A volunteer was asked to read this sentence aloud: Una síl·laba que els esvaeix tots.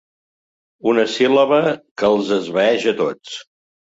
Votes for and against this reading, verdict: 1, 2, rejected